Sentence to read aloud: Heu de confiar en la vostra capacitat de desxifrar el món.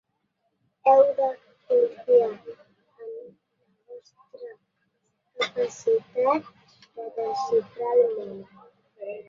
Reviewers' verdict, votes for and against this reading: rejected, 0, 2